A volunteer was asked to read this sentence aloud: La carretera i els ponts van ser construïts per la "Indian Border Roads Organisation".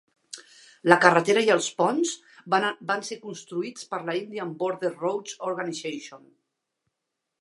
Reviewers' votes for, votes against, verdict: 1, 2, rejected